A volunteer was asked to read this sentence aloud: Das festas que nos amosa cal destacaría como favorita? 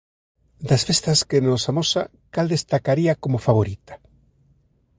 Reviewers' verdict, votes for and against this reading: accepted, 2, 0